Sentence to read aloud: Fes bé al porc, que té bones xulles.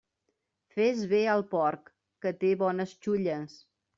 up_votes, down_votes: 2, 0